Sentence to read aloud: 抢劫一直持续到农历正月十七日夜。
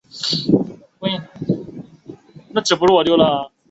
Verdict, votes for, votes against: rejected, 0, 2